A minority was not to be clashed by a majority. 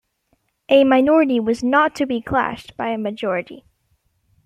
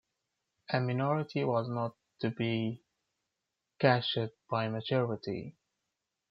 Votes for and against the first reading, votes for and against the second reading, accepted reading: 2, 0, 0, 2, first